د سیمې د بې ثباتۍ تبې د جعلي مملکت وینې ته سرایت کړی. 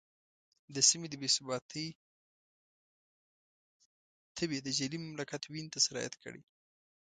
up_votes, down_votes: 2, 1